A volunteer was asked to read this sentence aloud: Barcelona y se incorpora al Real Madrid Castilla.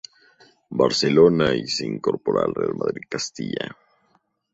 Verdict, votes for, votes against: accepted, 2, 0